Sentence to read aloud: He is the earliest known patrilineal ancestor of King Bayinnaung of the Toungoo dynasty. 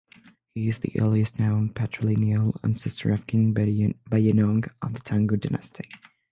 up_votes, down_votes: 0, 6